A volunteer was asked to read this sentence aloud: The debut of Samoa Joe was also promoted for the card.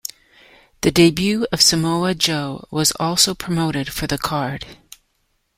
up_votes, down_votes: 2, 0